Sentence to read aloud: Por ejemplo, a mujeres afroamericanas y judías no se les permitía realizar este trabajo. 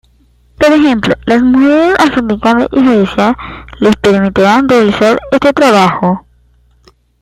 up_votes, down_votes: 0, 2